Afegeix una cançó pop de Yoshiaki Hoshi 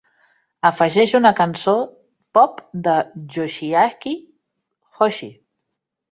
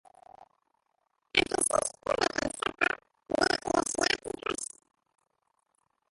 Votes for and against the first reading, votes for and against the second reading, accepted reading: 2, 0, 0, 2, first